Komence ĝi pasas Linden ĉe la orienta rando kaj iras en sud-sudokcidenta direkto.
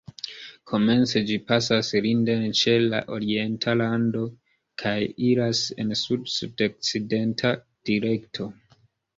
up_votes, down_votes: 2, 0